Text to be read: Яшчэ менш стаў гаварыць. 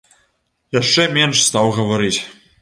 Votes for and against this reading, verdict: 1, 2, rejected